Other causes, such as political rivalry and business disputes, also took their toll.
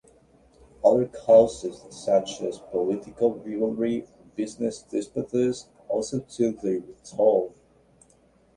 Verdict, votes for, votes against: rejected, 0, 2